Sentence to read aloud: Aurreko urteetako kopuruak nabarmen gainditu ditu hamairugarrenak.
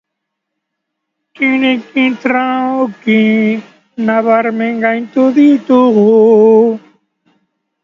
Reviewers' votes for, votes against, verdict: 0, 2, rejected